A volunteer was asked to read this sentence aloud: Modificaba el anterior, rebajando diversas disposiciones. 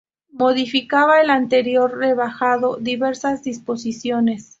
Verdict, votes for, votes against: accepted, 2, 0